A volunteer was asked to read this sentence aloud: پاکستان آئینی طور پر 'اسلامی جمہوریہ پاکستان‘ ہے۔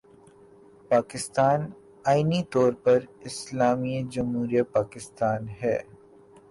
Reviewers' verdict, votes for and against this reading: rejected, 1, 2